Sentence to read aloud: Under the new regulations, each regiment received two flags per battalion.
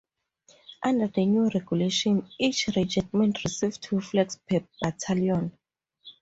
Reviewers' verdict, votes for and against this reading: rejected, 2, 2